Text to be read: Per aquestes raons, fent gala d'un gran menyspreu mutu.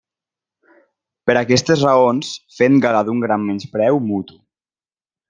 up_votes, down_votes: 2, 0